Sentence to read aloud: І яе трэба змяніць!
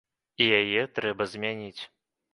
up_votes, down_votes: 2, 0